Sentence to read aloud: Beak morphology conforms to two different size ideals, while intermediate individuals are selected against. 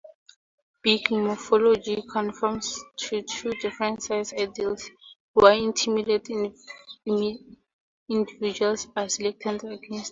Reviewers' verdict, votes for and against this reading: rejected, 0, 2